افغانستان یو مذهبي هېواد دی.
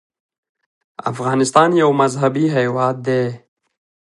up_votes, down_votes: 1, 2